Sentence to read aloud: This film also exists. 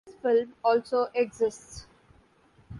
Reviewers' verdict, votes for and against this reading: rejected, 0, 2